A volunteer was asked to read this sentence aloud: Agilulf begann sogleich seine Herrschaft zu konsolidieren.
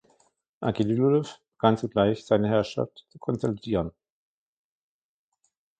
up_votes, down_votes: 1, 2